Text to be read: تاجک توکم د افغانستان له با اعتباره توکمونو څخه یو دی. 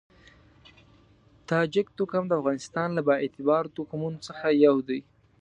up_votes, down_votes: 2, 0